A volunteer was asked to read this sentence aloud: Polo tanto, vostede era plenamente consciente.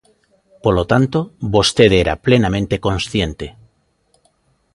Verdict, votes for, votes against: accepted, 2, 0